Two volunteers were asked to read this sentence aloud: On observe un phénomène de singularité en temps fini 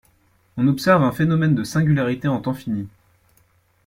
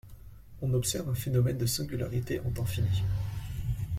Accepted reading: second